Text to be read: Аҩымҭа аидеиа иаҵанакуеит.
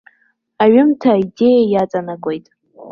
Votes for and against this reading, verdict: 2, 0, accepted